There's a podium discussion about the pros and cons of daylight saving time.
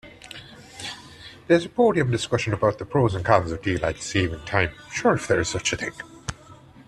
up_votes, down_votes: 0, 2